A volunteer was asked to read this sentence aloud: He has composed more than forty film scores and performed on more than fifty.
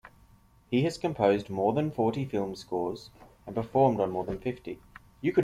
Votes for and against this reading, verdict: 1, 2, rejected